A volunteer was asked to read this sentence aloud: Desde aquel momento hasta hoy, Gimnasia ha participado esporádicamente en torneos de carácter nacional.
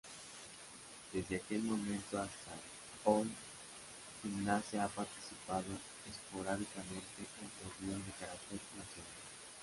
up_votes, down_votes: 0, 2